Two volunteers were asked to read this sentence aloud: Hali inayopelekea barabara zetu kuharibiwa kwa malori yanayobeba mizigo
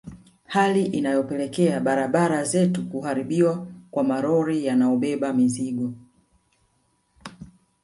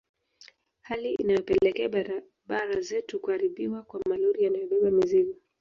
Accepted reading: second